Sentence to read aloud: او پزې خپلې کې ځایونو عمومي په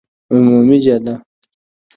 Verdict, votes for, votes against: rejected, 1, 2